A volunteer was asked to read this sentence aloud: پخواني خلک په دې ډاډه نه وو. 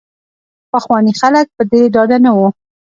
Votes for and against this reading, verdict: 0, 2, rejected